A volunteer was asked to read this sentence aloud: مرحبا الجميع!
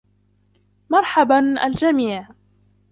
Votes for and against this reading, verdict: 0, 2, rejected